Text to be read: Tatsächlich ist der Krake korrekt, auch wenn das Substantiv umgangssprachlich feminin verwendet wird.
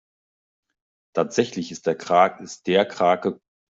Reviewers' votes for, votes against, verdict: 0, 2, rejected